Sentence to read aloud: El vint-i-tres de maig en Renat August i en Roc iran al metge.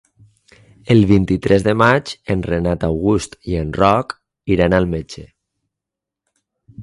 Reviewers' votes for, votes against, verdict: 6, 0, accepted